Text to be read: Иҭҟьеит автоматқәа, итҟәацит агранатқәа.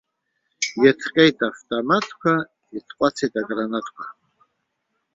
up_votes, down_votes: 2, 1